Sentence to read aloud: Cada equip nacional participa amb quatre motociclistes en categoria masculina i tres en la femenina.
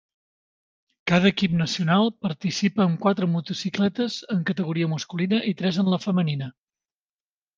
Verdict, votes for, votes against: rejected, 1, 2